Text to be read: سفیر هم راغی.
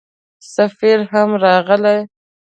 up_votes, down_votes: 0, 2